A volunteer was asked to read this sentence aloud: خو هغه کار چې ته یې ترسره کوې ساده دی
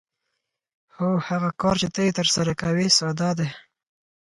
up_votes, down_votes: 4, 0